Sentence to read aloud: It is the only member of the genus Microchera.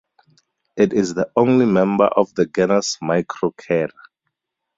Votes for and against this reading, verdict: 4, 2, accepted